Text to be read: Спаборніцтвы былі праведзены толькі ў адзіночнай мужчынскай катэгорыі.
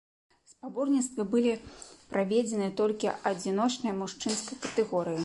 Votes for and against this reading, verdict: 0, 2, rejected